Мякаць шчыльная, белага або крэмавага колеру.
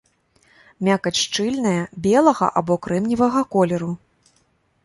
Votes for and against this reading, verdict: 1, 2, rejected